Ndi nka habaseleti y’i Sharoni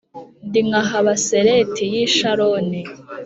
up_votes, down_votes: 3, 0